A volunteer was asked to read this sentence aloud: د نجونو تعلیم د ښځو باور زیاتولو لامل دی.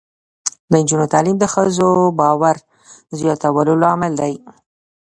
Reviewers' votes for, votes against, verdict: 2, 0, accepted